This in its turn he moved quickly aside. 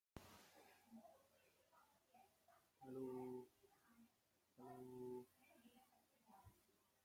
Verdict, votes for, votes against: rejected, 1, 2